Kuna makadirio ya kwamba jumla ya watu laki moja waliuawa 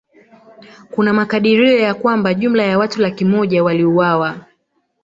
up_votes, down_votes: 1, 2